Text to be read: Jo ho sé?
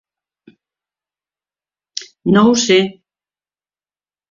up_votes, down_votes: 0, 2